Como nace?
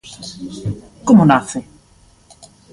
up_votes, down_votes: 2, 0